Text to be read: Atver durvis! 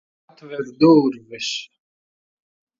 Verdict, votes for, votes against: rejected, 1, 2